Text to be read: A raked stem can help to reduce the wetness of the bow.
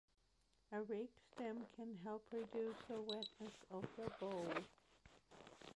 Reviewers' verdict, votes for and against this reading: rejected, 0, 2